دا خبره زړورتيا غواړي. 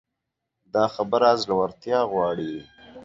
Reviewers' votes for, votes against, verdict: 2, 0, accepted